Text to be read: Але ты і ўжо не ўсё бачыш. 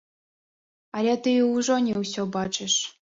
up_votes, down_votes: 2, 0